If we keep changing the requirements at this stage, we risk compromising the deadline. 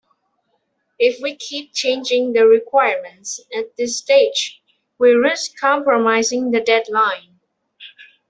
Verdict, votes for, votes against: accepted, 2, 0